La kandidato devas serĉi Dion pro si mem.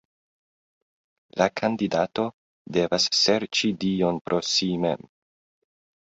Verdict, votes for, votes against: accepted, 2, 0